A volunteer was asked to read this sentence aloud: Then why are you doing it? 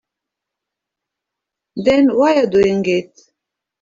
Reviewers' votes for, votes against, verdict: 0, 2, rejected